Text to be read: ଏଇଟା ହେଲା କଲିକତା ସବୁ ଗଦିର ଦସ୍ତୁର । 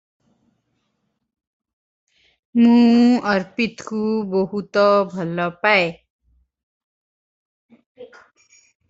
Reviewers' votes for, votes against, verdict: 0, 2, rejected